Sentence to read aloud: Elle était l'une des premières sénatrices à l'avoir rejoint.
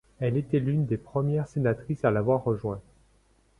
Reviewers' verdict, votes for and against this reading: accepted, 2, 0